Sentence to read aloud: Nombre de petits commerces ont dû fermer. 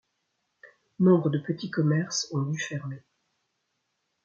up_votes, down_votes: 2, 0